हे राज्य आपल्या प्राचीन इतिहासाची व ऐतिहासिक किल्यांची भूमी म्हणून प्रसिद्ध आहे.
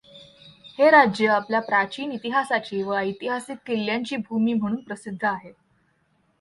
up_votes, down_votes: 2, 0